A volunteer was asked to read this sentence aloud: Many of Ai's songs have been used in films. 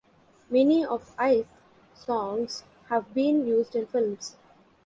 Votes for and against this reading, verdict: 1, 2, rejected